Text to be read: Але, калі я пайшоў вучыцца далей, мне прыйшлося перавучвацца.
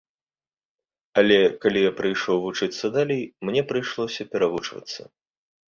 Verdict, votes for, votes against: rejected, 1, 2